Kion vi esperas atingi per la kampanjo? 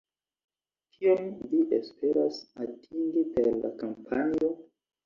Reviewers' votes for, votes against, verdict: 2, 0, accepted